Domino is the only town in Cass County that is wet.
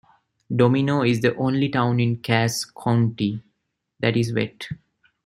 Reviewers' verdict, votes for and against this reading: rejected, 1, 2